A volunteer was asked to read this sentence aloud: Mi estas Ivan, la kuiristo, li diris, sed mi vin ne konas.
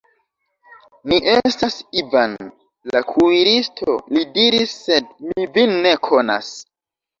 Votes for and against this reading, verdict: 2, 0, accepted